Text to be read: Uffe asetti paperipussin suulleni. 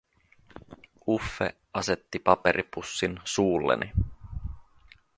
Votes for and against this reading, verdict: 2, 0, accepted